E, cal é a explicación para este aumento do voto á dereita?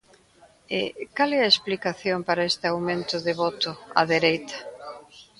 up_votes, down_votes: 0, 2